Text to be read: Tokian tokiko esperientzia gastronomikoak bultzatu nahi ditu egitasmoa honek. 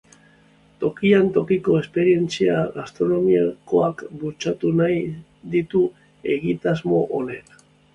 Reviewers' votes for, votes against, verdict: 3, 1, accepted